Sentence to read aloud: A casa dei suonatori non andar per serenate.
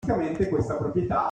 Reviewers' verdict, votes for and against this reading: rejected, 0, 2